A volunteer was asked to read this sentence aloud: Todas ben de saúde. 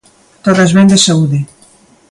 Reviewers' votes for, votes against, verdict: 2, 0, accepted